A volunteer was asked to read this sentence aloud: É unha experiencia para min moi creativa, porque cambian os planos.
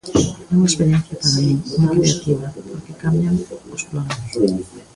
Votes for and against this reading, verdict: 0, 2, rejected